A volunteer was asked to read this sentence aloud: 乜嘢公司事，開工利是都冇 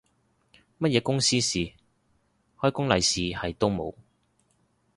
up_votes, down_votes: 0, 2